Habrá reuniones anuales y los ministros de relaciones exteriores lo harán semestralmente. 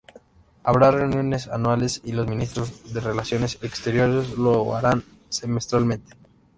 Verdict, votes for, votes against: accepted, 2, 0